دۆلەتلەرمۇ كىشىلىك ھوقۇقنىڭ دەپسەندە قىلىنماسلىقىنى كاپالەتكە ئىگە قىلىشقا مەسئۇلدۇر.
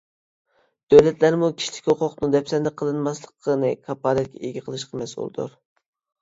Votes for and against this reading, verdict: 1, 2, rejected